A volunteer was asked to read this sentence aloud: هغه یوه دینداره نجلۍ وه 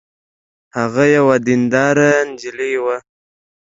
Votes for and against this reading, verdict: 2, 0, accepted